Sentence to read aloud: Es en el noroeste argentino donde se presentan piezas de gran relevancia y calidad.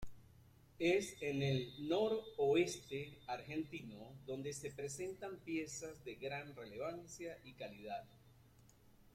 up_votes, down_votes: 2, 1